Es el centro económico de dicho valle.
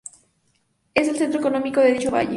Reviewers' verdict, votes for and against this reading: accepted, 2, 0